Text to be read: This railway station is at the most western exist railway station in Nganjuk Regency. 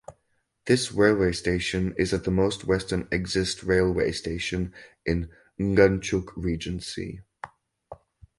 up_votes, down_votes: 4, 0